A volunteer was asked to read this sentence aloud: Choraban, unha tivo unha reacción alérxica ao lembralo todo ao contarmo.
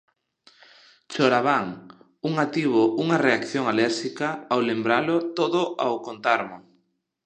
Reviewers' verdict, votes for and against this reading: rejected, 0, 2